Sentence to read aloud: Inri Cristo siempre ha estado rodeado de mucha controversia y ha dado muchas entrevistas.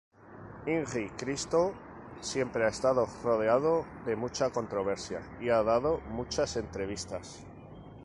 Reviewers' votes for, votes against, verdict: 4, 0, accepted